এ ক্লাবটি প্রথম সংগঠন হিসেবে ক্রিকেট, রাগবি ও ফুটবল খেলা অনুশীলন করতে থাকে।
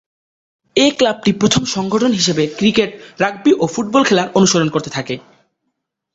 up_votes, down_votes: 3, 0